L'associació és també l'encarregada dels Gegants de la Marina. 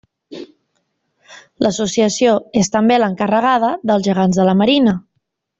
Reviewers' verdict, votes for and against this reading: accepted, 3, 0